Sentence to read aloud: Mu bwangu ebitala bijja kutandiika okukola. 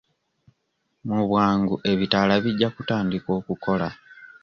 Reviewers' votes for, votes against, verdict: 2, 0, accepted